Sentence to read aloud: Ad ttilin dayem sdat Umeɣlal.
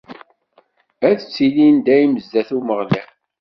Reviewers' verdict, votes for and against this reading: accepted, 2, 0